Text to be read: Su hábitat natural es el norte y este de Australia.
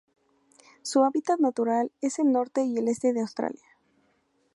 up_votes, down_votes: 0, 2